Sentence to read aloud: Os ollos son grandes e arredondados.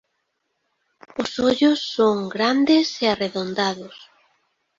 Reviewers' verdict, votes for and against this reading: accepted, 2, 1